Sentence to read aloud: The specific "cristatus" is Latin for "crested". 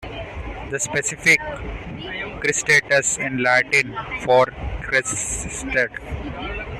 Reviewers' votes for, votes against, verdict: 1, 2, rejected